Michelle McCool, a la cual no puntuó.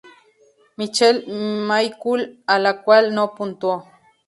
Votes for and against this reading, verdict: 2, 0, accepted